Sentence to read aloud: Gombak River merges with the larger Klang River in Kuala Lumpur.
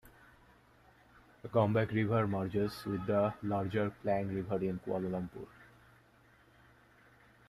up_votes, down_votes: 2, 0